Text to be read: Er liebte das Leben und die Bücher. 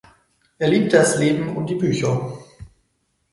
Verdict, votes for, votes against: accepted, 4, 0